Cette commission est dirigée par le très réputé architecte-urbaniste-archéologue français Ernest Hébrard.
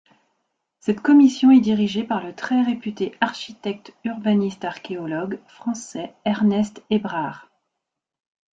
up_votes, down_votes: 2, 0